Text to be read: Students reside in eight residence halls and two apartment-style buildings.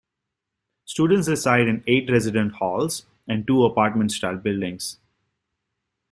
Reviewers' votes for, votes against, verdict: 1, 2, rejected